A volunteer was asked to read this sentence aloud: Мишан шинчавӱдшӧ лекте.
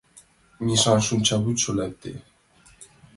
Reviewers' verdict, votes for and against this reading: accepted, 2, 1